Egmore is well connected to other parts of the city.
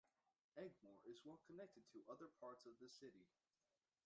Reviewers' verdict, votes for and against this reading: rejected, 0, 2